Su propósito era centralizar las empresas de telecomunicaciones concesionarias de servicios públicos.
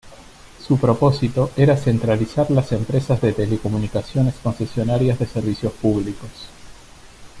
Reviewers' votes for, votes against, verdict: 0, 2, rejected